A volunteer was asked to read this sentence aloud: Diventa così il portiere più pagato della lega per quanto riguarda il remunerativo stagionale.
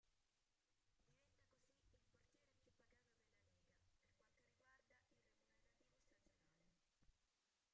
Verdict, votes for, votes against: rejected, 0, 2